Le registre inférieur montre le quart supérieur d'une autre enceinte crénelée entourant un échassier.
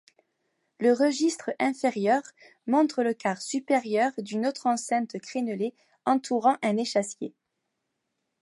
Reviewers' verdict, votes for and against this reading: rejected, 1, 2